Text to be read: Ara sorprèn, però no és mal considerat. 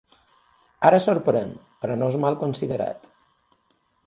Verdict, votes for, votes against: accepted, 3, 0